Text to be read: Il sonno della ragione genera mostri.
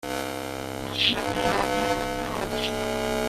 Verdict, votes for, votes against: rejected, 0, 2